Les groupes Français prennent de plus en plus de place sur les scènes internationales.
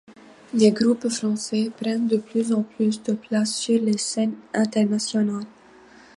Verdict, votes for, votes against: accepted, 2, 0